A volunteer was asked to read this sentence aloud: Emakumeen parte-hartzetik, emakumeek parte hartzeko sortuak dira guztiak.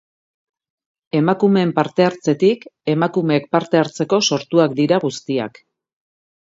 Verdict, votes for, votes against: accepted, 2, 0